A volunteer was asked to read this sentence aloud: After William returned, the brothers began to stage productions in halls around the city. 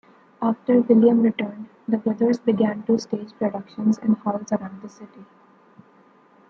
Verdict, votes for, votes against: accepted, 2, 0